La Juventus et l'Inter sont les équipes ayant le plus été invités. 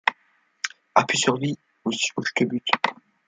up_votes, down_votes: 0, 2